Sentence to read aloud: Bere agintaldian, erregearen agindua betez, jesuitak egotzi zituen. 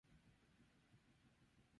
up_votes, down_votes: 0, 8